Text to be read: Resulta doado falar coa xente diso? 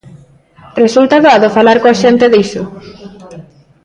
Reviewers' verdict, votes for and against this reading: rejected, 1, 2